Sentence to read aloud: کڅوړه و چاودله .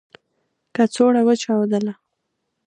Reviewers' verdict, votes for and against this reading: accepted, 2, 0